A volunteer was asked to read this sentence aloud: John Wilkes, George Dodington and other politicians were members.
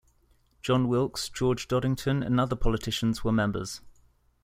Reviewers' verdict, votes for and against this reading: accepted, 2, 0